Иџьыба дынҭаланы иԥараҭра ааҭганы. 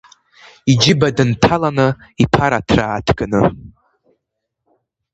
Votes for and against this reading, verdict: 2, 0, accepted